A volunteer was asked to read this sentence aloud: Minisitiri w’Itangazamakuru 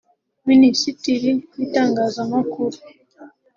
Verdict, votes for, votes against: accepted, 3, 1